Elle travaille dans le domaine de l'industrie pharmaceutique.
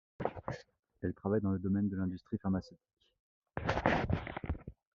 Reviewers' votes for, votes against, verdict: 2, 0, accepted